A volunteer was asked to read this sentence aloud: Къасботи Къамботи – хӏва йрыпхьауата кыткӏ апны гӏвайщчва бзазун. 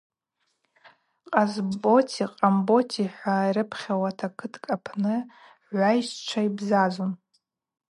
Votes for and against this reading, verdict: 2, 0, accepted